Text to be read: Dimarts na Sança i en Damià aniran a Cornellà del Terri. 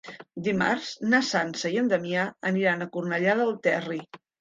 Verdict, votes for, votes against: accepted, 3, 0